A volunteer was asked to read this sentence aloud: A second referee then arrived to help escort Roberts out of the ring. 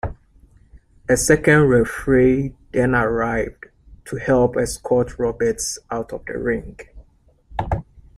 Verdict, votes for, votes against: rejected, 0, 2